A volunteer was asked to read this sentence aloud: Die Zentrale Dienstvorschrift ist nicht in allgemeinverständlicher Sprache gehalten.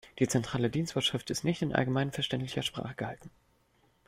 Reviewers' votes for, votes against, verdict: 1, 2, rejected